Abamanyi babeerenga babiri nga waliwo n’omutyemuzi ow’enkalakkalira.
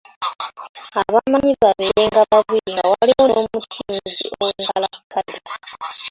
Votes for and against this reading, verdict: 0, 3, rejected